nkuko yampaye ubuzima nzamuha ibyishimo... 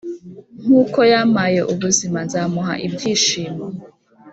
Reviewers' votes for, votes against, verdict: 5, 0, accepted